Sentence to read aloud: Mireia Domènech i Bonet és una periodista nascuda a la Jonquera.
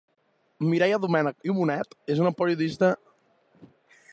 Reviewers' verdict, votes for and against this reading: rejected, 0, 2